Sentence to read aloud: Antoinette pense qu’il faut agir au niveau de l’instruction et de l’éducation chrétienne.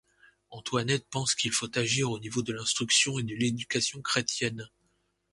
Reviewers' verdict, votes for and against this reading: accepted, 2, 0